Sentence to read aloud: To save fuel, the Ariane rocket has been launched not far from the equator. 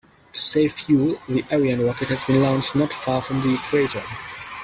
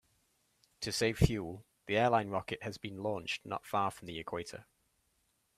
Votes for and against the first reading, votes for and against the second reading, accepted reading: 3, 0, 1, 2, first